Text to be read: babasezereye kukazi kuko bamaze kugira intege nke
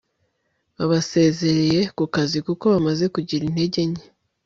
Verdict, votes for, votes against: accepted, 2, 0